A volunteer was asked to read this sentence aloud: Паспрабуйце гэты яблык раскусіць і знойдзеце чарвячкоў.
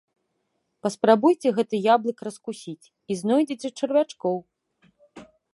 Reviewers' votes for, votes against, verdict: 2, 0, accepted